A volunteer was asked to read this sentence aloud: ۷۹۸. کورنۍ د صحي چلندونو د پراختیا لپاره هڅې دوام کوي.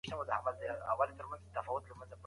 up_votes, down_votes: 0, 2